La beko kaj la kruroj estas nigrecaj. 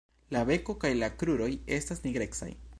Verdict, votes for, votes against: accepted, 2, 1